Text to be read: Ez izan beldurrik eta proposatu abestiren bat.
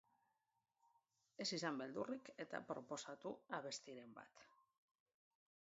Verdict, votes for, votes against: accepted, 2, 1